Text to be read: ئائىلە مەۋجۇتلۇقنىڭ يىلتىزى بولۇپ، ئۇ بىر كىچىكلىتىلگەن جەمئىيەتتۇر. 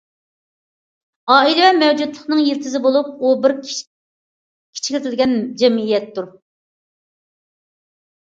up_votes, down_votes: 0, 2